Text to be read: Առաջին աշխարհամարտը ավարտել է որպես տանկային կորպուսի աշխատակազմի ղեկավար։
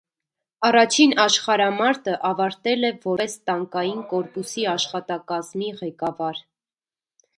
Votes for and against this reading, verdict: 1, 2, rejected